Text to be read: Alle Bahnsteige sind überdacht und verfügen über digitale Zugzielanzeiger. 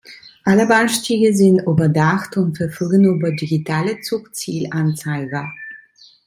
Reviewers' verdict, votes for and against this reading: rejected, 1, 2